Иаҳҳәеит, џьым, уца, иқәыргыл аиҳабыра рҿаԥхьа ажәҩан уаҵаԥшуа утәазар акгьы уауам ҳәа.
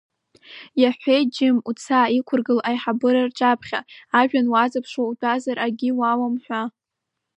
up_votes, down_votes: 0, 2